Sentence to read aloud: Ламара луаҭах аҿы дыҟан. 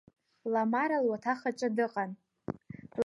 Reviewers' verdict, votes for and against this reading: accepted, 2, 0